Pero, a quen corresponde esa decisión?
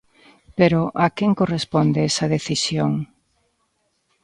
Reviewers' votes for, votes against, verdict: 2, 0, accepted